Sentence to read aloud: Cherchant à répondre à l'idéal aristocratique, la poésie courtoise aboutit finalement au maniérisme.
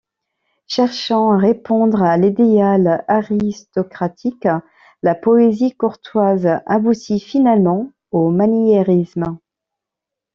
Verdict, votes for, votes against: rejected, 0, 2